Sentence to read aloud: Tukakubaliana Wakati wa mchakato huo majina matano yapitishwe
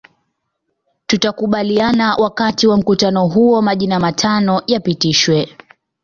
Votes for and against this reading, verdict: 0, 2, rejected